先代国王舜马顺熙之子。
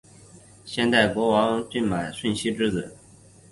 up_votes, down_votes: 3, 1